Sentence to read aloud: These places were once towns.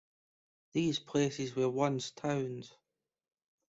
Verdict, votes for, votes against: accepted, 2, 0